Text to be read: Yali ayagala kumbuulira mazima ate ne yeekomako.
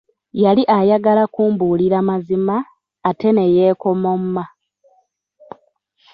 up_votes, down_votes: 0, 2